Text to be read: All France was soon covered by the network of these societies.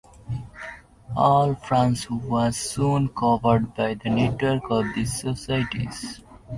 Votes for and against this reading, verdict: 3, 0, accepted